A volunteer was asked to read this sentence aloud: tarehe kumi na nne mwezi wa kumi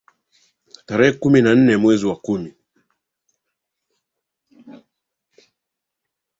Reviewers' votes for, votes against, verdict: 3, 1, accepted